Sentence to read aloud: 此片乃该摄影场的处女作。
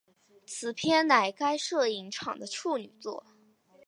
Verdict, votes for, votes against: accepted, 7, 0